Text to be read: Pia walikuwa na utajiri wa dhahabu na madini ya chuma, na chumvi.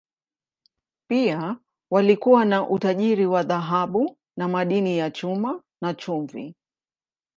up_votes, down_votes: 2, 0